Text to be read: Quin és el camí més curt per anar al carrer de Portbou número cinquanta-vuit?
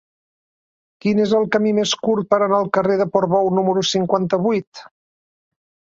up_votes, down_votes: 3, 0